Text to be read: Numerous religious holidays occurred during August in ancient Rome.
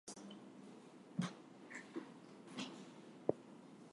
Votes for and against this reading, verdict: 0, 4, rejected